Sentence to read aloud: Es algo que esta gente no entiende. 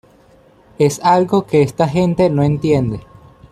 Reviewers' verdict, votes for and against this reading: accepted, 2, 0